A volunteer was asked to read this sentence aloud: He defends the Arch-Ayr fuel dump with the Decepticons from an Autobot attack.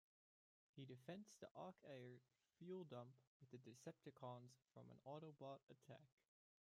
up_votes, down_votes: 0, 2